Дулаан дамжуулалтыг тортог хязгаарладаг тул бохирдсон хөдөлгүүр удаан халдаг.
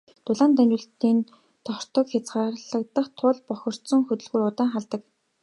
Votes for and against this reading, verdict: 0, 2, rejected